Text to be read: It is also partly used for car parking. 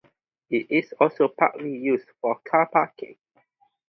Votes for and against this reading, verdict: 0, 2, rejected